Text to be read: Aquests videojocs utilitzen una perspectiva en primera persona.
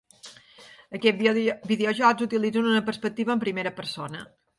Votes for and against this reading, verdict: 1, 4, rejected